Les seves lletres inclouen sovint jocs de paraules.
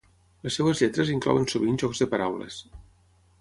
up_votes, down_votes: 3, 3